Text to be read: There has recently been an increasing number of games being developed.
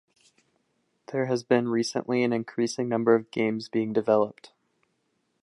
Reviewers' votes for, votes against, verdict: 2, 1, accepted